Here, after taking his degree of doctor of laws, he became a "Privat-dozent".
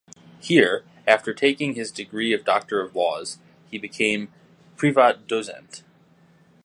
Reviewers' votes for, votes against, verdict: 0, 2, rejected